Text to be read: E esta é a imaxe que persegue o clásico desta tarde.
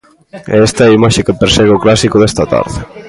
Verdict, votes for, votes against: rejected, 0, 2